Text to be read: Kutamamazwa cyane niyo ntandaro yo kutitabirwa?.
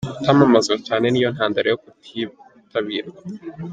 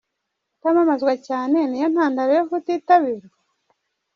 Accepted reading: first